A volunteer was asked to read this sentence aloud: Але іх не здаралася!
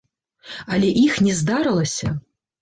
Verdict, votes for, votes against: rejected, 0, 2